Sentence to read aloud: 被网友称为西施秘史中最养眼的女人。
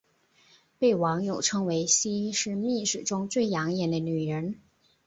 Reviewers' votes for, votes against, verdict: 4, 0, accepted